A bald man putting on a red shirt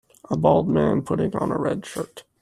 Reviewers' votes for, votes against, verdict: 2, 0, accepted